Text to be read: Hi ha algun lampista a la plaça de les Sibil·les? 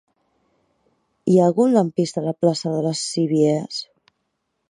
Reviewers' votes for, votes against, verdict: 0, 2, rejected